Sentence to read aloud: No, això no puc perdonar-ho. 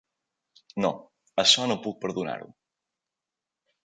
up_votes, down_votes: 3, 0